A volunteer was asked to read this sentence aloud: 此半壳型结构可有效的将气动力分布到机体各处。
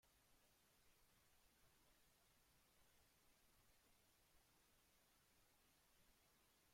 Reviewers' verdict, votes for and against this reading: rejected, 0, 2